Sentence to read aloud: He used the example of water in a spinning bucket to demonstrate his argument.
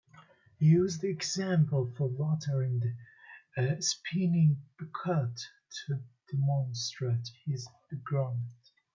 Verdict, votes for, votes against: rejected, 0, 2